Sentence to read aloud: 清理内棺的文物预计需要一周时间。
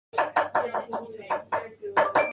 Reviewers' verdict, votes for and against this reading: rejected, 0, 6